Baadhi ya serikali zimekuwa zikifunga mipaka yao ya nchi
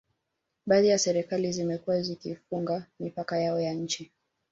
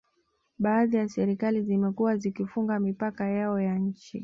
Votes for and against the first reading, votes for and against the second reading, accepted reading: 1, 2, 2, 0, second